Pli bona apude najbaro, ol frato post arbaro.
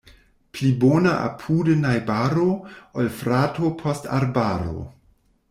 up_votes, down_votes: 2, 0